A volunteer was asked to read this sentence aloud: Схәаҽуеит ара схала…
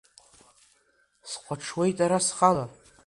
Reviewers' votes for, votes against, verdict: 2, 0, accepted